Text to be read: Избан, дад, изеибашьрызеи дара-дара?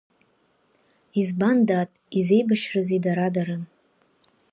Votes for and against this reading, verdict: 4, 0, accepted